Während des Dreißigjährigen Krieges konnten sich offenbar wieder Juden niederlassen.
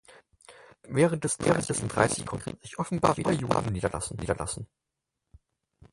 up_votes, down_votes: 0, 4